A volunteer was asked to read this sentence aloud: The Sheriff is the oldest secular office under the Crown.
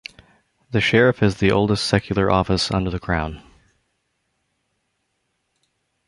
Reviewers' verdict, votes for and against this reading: accepted, 2, 0